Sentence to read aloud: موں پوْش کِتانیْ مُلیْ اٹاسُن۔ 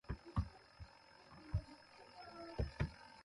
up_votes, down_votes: 0, 2